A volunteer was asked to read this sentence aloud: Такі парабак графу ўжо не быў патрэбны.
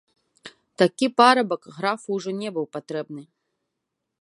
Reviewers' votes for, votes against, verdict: 2, 0, accepted